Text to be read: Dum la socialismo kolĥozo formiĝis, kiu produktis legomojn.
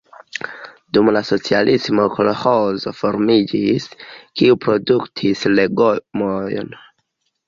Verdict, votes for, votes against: rejected, 1, 2